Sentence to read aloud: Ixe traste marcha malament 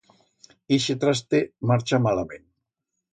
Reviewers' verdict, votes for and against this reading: accepted, 2, 0